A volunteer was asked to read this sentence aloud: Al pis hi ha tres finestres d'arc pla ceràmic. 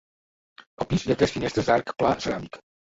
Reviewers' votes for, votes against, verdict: 0, 2, rejected